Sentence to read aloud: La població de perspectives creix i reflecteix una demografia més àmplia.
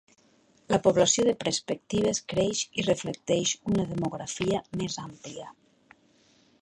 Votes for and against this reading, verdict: 1, 2, rejected